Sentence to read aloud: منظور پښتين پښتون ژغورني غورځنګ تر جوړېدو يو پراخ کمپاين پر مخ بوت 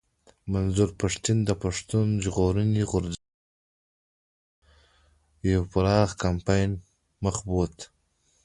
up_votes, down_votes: 2, 0